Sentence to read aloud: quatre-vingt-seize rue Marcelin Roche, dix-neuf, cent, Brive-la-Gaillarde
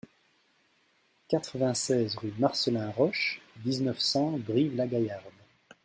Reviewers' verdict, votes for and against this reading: accepted, 3, 0